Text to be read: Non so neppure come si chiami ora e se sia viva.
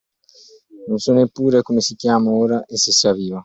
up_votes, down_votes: 2, 1